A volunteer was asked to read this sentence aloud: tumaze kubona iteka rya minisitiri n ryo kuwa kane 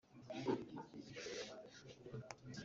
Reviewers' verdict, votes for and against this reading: rejected, 0, 2